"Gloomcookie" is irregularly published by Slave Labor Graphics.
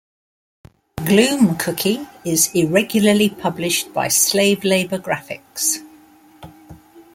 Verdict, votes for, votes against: accepted, 2, 0